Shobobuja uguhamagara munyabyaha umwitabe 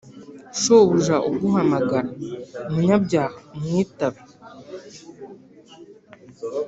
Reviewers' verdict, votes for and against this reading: accepted, 2, 0